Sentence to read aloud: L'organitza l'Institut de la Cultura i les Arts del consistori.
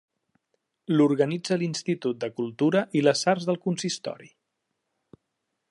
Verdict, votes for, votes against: rejected, 0, 2